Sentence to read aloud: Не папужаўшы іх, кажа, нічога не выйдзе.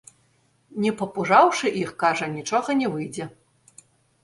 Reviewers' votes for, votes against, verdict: 2, 1, accepted